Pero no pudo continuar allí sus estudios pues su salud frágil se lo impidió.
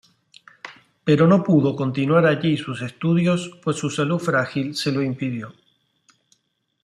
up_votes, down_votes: 2, 0